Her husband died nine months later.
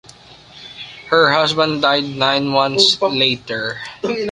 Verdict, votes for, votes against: accepted, 2, 1